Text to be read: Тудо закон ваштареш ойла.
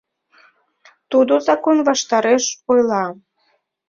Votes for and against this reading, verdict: 2, 0, accepted